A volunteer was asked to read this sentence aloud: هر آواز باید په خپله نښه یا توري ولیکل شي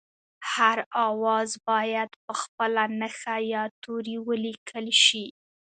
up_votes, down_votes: 2, 0